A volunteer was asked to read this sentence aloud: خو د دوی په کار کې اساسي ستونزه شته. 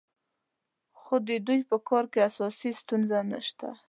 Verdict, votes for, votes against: rejected, 1, 2